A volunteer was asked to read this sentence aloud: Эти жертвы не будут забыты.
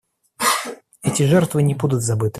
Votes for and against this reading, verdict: 0, 2, rejected